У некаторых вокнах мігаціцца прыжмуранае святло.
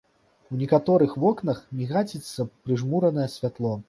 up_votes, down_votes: 0, 2